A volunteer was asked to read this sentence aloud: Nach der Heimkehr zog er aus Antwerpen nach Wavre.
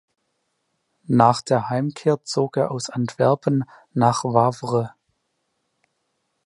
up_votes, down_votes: 2, 0